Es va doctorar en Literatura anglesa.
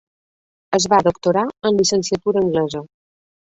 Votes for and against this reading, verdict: 1, 2, rejected